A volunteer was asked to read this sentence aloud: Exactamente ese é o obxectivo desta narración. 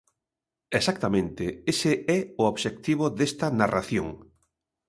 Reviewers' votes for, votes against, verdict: 2, 0, accepted